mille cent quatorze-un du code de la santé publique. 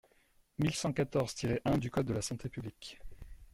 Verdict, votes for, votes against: rejected, 1, 2